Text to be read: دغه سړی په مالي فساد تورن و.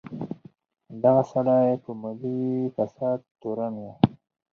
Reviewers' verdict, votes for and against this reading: rejected, 0, 4